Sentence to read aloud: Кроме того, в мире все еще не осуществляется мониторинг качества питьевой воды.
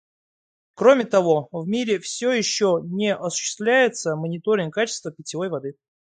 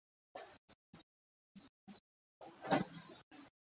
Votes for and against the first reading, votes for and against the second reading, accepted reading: 2, 0, 0, 2, first